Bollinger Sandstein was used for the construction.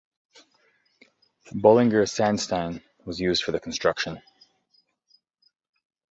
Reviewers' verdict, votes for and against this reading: accepted, 2, 0